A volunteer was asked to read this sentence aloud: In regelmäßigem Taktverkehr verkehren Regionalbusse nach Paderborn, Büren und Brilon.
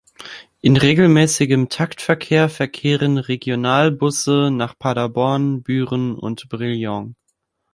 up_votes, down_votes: 0, 2